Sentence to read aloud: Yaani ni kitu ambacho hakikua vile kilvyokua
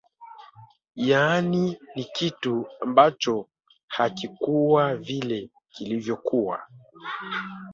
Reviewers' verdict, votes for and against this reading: accepted, 2, 1